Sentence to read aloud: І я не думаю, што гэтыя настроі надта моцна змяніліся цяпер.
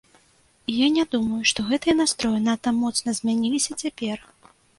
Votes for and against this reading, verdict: 2, 0, accepted